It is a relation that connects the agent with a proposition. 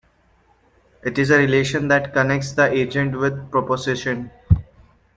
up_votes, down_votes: 1, 2